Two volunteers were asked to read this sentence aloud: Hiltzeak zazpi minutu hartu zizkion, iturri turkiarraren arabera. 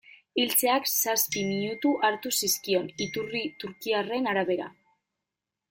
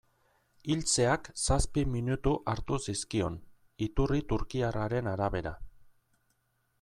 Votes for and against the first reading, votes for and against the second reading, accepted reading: 0, 2, 2, 0, second